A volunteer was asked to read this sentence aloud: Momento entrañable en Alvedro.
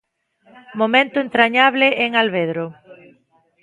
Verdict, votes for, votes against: accepted, 2, 0